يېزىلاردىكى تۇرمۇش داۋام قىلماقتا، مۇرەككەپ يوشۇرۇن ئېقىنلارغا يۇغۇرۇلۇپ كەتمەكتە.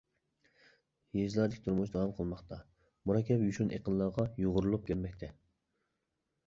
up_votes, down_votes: 0, 2